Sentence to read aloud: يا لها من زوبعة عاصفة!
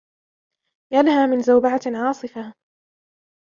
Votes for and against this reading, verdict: 0, 2, rejected